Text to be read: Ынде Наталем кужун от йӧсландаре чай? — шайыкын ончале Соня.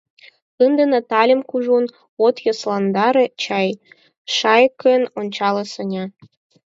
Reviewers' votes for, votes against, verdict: 2, 4, rejected